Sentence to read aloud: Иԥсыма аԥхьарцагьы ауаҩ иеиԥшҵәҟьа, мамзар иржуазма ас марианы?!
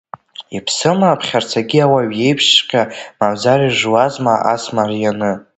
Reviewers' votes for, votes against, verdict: 2, 0, accepted